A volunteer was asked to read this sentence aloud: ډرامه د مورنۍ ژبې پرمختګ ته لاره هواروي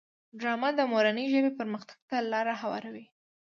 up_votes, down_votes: 3, 0